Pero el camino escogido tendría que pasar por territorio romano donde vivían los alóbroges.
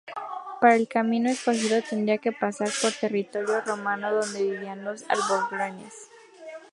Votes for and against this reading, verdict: 2, 2, rejected